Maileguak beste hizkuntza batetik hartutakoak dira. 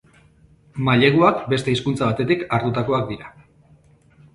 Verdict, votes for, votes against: accepted, 2, 0